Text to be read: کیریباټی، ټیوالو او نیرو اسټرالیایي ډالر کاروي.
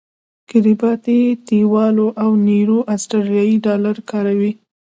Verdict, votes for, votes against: rejected, 0, 2